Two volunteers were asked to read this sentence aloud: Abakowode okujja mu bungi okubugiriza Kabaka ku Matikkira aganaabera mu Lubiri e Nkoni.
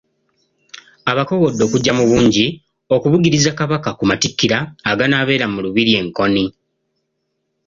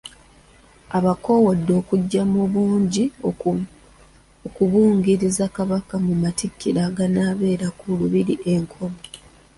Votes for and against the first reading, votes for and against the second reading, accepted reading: 2, 0, 1, 2, first